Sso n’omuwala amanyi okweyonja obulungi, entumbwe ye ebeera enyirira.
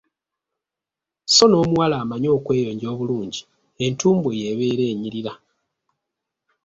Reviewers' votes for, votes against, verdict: 2, 0, accepted